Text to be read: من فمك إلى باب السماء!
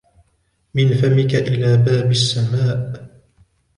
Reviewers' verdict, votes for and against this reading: accepted, 2, 0